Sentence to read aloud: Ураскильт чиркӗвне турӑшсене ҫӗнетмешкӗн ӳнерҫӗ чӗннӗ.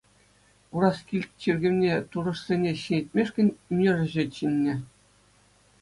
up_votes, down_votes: 2, 0